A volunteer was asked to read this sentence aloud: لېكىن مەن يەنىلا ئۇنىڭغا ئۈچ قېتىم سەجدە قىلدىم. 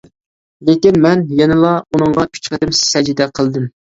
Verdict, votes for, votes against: accepted, 2, 0